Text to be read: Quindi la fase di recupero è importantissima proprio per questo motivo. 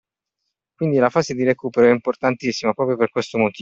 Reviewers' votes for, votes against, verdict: 2, 1, accepted